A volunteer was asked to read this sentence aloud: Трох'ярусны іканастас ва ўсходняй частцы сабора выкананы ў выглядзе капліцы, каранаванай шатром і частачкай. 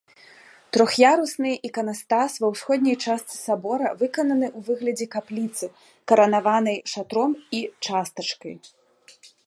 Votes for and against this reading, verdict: 2, 1, accepted